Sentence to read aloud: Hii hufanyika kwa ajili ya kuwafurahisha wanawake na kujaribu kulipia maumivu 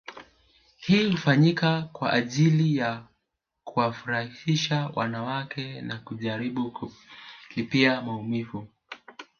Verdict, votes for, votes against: rejected, 1, 2